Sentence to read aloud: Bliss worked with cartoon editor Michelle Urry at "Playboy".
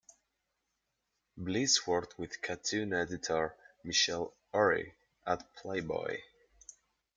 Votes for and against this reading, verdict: 8, 3, accepted